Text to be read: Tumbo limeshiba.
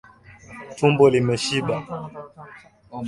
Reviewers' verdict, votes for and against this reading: accepted, 2, 1